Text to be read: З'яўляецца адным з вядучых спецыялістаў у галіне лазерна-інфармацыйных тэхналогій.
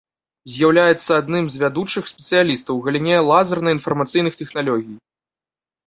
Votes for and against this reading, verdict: 1, 2, rejected